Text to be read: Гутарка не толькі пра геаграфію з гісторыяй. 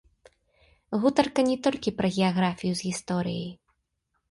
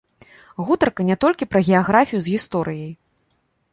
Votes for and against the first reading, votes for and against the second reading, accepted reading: 1, 2, 2, 0, second